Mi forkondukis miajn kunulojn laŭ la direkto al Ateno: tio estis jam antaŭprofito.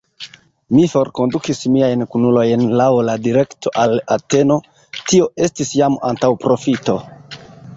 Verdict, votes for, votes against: accepted, 2, 1